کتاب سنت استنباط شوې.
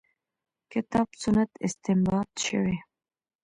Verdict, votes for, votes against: accepted, 2, 1